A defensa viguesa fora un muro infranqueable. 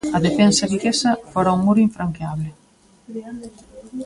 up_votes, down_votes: 0, 2